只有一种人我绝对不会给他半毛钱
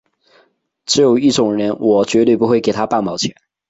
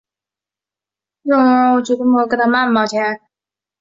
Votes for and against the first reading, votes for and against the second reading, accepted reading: 4, 0, 1, 5, first